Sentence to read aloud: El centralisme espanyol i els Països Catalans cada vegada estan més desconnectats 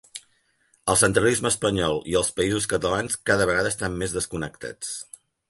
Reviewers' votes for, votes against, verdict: 3, 0, accepted